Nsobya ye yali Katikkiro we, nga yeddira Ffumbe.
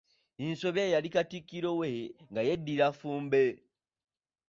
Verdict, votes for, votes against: accepted, 2, 0